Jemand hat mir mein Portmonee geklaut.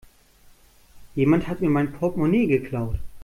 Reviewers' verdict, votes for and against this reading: accepted, 2, 0